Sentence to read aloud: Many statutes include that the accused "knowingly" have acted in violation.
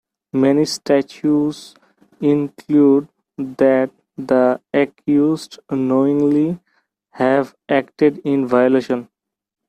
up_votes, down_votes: 0, 2